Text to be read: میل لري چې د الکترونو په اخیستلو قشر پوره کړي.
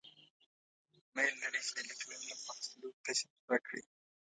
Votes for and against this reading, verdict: 1, 2, rejected